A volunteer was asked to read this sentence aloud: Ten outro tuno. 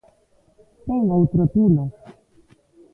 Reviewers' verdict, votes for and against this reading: rejected, 0, 2